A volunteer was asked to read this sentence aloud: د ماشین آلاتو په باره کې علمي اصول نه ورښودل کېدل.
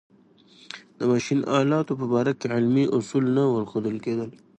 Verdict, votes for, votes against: accepted, 2, 0